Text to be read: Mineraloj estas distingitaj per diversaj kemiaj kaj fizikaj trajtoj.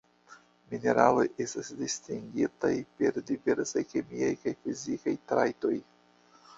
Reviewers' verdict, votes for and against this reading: accepted, 2, 1